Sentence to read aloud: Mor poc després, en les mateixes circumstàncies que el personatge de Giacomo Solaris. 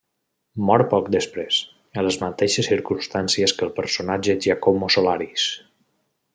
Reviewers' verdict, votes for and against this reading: rejected, 1, 2